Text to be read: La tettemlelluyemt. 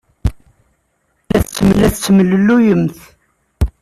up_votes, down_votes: 0, 2